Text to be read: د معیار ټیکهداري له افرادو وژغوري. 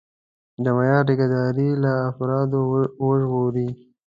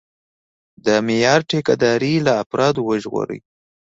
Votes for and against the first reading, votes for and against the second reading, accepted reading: 1, 2, 2, 0, second